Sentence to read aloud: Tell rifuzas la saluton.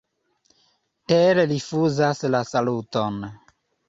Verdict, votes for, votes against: accepted, 2, 0